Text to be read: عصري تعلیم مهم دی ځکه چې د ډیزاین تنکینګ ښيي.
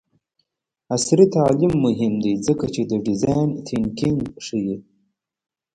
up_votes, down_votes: 1, 2